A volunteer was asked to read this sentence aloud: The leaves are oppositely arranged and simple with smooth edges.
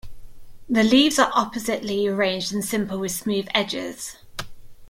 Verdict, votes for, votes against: accepted, 2, 0